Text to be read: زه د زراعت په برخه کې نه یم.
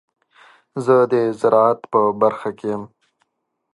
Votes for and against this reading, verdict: 0, 2, rejected